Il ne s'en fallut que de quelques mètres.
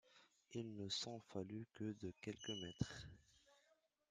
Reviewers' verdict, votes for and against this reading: accepted, 2, 1